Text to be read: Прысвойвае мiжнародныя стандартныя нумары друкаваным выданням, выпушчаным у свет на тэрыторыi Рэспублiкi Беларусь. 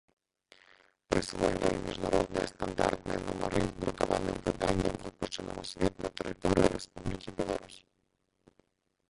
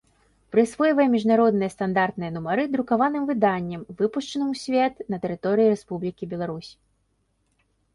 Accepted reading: second